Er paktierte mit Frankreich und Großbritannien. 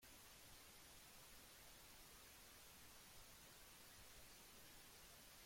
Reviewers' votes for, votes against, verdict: 0, 2, rejected